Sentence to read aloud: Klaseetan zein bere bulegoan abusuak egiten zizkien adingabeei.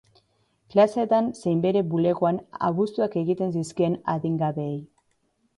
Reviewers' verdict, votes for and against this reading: accepted, 2, 0